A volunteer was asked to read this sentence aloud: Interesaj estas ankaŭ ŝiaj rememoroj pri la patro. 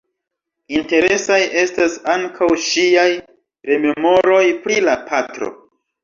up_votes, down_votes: 2, 0